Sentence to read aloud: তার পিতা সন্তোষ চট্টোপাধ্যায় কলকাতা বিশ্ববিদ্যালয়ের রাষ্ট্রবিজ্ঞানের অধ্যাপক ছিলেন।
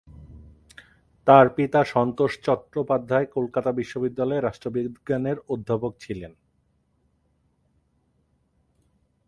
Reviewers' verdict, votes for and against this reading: rejected, 1, 2